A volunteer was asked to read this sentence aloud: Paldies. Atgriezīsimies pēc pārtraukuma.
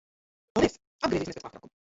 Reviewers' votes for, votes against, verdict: 0, 2, rejected